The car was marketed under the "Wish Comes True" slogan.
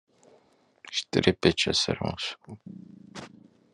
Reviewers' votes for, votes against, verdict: 0, 2, rejected